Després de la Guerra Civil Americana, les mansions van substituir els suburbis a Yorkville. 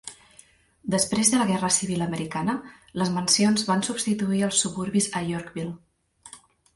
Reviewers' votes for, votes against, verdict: 4, 0, accepted